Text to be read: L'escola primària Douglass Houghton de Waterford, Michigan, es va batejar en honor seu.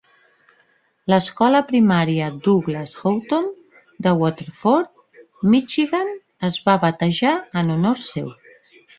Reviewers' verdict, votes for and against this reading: accepted, 3, 0